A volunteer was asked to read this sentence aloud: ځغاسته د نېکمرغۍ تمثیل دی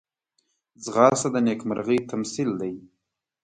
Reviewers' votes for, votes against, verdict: 2, 0, accepted